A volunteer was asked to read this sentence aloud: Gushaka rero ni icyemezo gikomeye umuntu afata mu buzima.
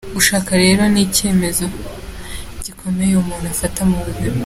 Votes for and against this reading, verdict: 2, 0, accepted